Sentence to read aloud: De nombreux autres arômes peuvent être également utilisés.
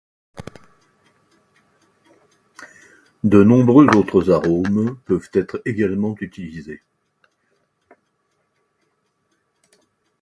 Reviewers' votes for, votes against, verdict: 2, 0, accepted